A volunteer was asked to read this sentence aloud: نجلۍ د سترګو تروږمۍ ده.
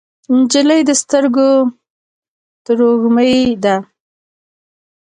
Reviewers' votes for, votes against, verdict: 1, 2, rejected